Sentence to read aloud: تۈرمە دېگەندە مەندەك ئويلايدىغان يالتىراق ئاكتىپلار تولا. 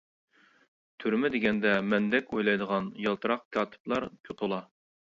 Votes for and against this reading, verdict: 0, 2, rejected